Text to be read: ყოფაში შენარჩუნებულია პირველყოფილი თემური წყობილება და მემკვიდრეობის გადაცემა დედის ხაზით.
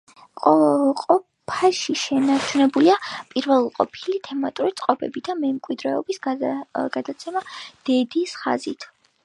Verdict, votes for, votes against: rejected, 1, 3